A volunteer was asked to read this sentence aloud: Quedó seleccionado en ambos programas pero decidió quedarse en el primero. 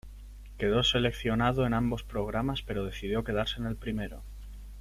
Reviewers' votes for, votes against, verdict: 2, 0, accepted